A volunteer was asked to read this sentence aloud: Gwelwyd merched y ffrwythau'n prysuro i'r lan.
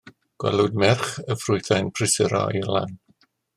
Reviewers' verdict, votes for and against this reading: rejected, 0, 2